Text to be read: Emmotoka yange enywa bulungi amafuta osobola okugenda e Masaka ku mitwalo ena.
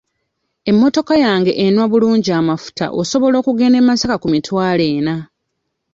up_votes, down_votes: 1, 2